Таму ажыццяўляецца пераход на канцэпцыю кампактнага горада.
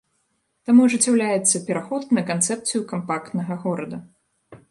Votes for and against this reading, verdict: 2, 0, accepted